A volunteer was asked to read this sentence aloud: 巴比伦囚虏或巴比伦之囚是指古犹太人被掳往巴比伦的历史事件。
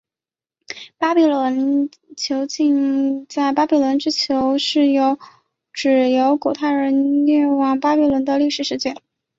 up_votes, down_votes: 4, 5